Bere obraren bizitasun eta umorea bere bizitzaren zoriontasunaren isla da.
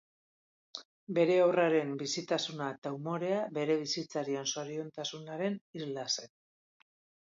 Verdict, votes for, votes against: rejected, 0, 2